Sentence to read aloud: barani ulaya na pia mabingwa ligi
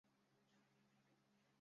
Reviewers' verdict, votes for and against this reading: rejected, 0, 2